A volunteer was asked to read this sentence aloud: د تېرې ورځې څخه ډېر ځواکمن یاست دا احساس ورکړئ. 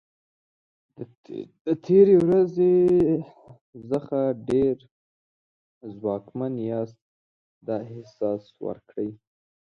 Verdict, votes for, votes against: rejected, 1, 2